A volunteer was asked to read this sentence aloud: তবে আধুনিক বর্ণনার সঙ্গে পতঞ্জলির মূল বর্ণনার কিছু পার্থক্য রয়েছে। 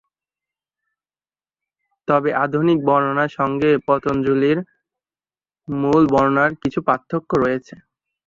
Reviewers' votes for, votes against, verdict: 1, 2, rejected